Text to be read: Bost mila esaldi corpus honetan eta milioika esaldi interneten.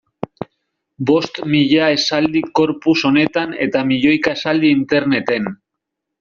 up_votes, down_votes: 1, 2